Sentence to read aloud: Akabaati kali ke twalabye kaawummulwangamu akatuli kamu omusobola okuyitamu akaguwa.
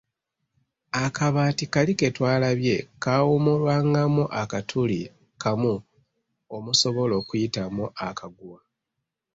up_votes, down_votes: 2, 0